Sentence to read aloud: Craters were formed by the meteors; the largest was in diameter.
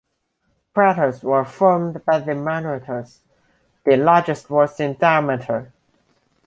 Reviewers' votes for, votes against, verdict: 1, 2, rejected